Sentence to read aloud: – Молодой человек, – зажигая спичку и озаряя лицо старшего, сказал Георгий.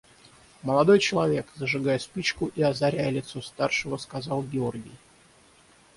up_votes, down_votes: 3, 3